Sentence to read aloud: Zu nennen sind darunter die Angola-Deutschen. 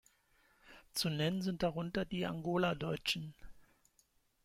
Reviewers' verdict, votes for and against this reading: accepted, 2, 1